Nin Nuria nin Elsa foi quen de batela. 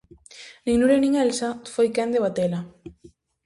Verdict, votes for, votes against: accepted, 2, 0